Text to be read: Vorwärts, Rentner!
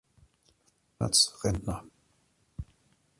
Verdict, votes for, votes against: rejected, 0, 2